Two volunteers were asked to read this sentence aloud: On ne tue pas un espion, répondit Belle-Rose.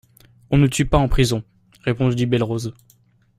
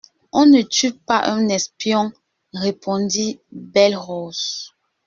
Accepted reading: second